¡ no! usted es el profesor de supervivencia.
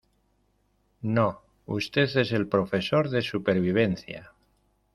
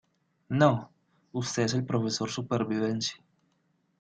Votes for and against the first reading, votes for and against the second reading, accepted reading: 2, 0, 0, 2, first